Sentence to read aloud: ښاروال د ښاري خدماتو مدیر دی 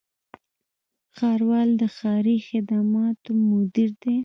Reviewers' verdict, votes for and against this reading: rejected, 1, 2